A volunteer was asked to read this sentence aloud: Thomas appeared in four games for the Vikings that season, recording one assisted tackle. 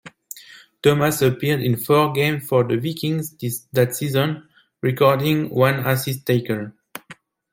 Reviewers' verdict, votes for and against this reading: rejected, 1, 2